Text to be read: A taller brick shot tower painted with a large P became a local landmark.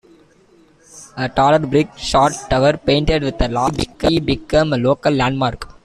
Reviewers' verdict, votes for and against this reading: rejected, 0, 2